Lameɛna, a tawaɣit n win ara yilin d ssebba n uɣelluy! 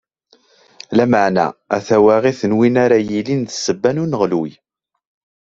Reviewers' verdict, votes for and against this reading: accepted, 2, 1